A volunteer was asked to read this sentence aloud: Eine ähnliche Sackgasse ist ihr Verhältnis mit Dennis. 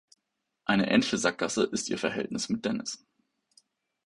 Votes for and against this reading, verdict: 0, 2, rejected